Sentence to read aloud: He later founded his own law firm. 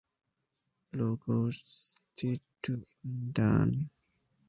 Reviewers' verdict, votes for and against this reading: rejected, 0, 2